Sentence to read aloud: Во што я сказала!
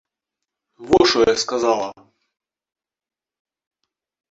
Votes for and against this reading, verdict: 0, 2, rejected